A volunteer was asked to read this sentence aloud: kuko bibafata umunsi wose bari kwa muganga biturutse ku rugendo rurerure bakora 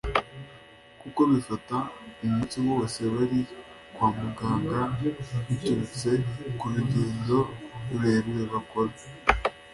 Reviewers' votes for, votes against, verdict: 2, 1, accepted